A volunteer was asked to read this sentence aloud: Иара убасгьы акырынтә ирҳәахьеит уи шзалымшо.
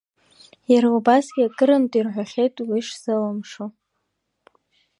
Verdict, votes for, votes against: accepted, 2, 0